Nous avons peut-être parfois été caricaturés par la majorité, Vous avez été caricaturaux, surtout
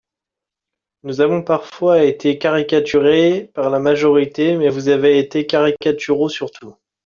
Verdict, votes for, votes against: rejected, 0, 2